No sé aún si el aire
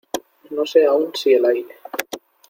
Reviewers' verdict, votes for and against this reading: accepted, 2, 0